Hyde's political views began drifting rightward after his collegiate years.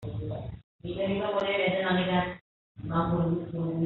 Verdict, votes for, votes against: rejected, 0, 2